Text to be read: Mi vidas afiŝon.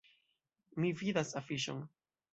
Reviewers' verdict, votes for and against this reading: accepted, 2, 1